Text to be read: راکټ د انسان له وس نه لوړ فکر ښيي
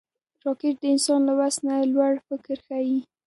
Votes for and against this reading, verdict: 1, 2, rejected